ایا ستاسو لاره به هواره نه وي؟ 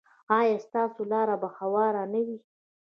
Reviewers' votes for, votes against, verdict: 0, 2, rejected